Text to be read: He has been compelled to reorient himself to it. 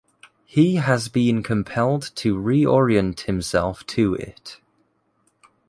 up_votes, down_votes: 2, 1